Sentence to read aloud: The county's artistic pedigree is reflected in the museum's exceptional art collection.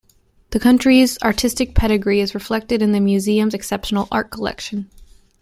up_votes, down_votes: 0, 2